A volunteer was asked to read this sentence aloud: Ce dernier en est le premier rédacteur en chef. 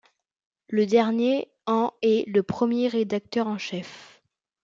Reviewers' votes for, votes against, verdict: 0, 2, rejected